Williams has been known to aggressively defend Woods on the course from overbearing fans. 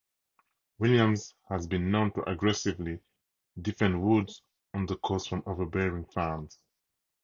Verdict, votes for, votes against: accepted, 2, 0